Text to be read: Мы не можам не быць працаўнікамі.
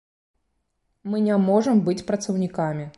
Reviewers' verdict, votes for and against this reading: rejected, 0, 2